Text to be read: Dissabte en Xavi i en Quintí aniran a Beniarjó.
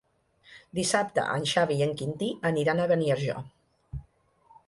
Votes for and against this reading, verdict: 2, 0, accepted